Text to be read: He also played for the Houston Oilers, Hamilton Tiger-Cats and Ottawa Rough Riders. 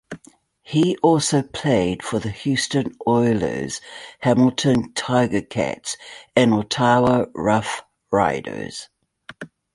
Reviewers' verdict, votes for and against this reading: rejected, 1, 2